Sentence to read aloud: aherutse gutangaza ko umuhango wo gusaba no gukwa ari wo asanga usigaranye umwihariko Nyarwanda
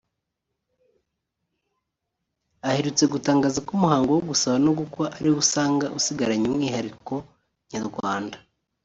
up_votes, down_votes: 2, 0